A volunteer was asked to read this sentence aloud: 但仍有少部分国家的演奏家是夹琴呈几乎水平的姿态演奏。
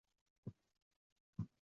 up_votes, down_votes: 2, 7